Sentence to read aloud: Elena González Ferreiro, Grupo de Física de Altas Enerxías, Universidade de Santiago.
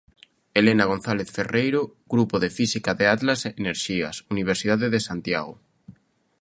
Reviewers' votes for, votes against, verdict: 1, 2, rejected